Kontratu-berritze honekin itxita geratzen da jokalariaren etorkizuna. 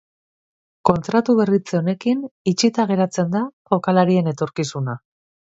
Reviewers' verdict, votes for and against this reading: rejected, 1, 2